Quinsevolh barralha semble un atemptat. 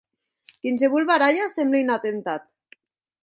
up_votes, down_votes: 4, 0